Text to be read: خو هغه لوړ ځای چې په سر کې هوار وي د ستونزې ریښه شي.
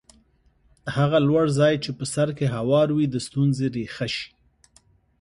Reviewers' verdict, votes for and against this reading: accepted, 3, 0